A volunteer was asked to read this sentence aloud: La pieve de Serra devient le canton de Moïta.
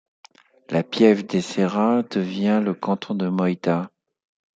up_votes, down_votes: 2, 0